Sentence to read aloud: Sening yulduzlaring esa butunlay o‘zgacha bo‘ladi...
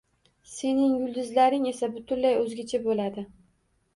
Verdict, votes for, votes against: accepted, 2, 0